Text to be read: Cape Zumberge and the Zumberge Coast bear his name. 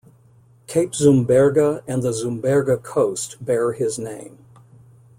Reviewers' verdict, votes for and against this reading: accepted, 2, 0